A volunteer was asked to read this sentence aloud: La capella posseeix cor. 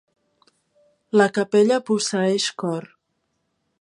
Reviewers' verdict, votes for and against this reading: accepted, 3, 0